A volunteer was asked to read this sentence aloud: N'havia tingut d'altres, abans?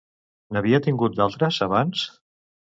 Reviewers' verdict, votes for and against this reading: rejected, 0, 2